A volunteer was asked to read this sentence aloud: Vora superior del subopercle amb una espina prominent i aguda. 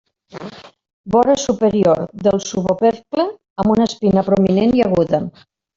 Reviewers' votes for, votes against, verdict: 0, 2, rejected